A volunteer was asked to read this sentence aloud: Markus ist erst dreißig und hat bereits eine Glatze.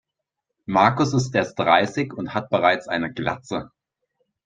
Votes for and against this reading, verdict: 6, 0, accepted